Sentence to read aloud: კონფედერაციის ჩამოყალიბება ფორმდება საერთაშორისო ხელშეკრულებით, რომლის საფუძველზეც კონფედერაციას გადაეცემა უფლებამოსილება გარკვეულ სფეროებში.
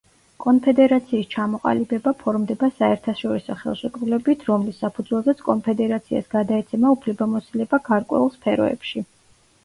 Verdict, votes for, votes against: accepted, 2, 0